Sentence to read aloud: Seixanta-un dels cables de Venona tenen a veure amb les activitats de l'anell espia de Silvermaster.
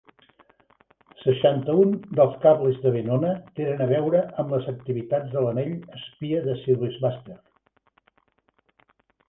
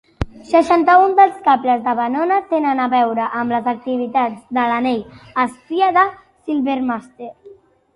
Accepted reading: second